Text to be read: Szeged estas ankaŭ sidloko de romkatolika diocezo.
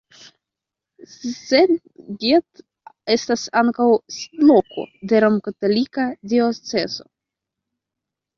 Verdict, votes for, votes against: rejected, 0, 2